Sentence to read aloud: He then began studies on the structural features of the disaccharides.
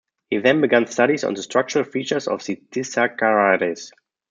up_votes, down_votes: 0, 2